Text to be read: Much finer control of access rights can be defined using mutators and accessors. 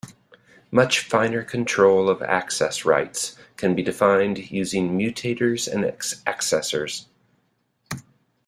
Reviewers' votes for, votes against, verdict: 2, 1, accepted